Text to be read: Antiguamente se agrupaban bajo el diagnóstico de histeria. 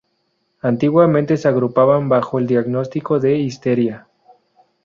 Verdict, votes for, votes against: rejected, 0, 2